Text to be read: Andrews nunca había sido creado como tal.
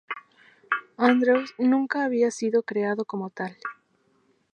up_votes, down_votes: 2, 0